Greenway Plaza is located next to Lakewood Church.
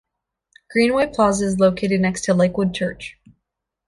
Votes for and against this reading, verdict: 2, 0, accepted